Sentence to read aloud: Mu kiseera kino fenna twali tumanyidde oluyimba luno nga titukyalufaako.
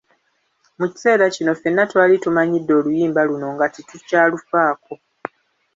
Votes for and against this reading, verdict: 1, 2, rejected